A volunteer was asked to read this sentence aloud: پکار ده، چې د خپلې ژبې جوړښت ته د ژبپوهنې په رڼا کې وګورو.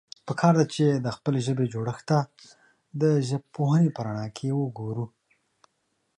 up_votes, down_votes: 2, 0